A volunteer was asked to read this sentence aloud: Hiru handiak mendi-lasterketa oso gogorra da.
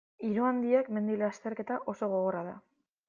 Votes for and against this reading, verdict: 2, 1, accepted